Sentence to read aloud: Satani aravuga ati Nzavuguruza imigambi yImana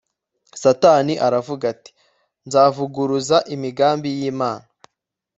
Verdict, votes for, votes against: accepted, 2, 0